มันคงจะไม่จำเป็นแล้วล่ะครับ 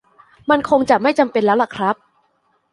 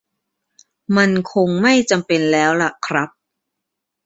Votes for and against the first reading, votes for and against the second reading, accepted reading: 2, 0, 1, 2, first